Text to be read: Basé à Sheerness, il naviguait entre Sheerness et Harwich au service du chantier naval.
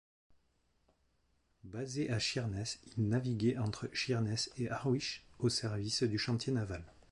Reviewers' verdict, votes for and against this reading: rejected, 2, 4